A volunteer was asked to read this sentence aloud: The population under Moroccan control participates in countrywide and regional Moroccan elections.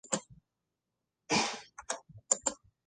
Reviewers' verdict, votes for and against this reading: rejected, 0, 2